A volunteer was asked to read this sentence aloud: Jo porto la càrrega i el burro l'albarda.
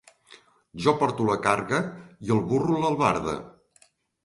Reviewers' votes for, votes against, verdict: 0, 2, rejected